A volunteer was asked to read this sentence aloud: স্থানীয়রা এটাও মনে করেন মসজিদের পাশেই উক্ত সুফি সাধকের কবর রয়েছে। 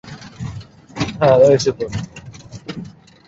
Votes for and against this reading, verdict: 0, 2, rejected